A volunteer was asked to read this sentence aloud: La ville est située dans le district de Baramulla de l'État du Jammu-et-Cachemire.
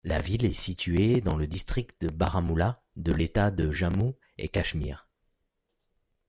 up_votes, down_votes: 2, 0